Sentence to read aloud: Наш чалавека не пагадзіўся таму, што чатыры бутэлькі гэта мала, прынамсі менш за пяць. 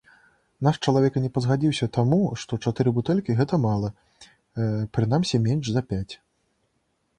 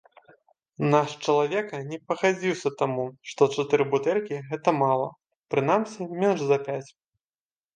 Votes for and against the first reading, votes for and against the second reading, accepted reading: 1, 2, 2, 0, second